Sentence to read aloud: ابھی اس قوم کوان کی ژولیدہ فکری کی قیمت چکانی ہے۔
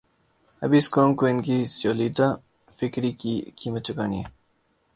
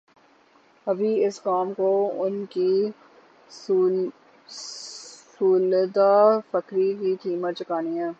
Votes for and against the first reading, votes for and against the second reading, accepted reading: 2, 0, 0, 9, first